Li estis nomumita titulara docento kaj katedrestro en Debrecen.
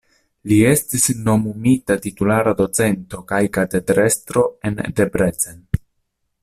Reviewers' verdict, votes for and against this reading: accepted, 2, 0